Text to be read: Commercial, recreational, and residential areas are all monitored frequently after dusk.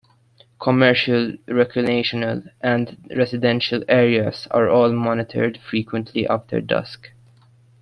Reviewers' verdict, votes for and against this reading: rejected, 2, 3